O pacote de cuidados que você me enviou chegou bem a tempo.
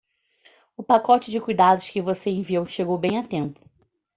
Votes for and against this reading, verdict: 2, 0, accepted